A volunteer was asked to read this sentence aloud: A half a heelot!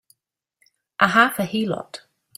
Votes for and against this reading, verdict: 2, 0, accepted